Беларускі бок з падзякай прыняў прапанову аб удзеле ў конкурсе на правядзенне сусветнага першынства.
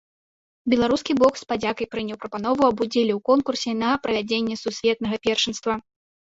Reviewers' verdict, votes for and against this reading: rejected, 0, 2